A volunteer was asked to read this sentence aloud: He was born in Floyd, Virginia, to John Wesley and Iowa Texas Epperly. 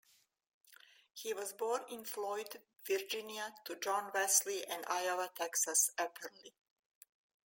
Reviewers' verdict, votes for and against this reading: accepted, 2, 1